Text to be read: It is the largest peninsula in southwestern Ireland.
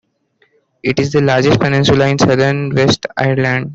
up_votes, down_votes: 0, 2